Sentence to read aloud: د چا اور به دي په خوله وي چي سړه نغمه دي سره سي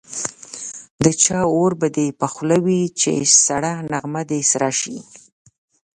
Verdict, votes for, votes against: accepted, 2, 0